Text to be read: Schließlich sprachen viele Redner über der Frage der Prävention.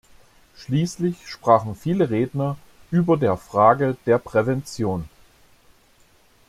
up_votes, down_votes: 2, 0